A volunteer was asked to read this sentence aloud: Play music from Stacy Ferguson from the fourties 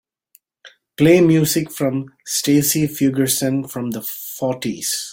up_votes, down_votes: 0, 2